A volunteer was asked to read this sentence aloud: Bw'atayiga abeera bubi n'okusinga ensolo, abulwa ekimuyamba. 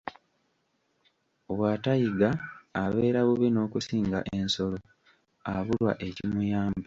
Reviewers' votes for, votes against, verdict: 1, 2, rejected